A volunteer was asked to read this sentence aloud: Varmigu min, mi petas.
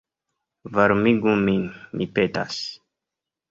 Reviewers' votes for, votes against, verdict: 2, 1, accepted